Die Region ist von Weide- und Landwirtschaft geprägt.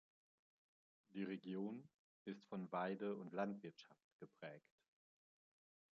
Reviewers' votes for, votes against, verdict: 2, 0, accepted